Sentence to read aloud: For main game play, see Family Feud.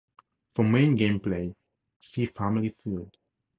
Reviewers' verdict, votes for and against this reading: accepted, 4, 0